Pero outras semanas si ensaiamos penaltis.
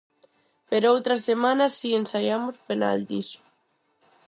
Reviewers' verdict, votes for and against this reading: accepted, 4, 0